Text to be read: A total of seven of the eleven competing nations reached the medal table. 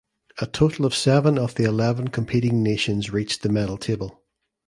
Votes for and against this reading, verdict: 2, 0, accepted